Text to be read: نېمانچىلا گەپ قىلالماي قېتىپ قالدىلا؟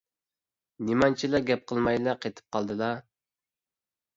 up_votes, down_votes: 1, 2